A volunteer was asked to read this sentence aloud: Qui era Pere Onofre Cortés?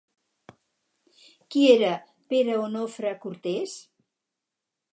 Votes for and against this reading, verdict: 4, 0, accepted